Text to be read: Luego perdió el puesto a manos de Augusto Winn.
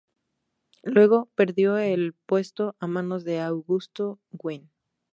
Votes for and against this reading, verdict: 2, 2, rejected